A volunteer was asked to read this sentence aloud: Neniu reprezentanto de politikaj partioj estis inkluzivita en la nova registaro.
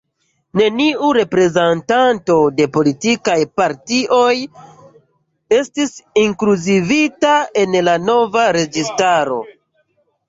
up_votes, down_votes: 1, 2